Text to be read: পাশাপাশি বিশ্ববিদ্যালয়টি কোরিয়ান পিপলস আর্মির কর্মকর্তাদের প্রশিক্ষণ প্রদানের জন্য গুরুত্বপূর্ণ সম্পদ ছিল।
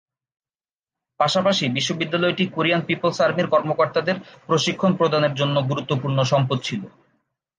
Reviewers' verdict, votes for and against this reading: accepted, 2, 0